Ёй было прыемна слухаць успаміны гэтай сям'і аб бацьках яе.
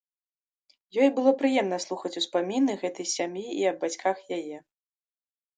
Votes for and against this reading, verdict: 0, 2, rejected